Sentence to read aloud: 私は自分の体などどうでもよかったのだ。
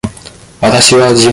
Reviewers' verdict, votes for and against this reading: rejected, 0, 2